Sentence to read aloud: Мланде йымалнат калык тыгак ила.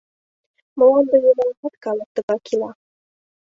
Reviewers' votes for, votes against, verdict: 1, 2, rejected